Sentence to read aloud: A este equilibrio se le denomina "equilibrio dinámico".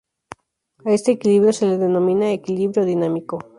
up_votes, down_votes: 2, 2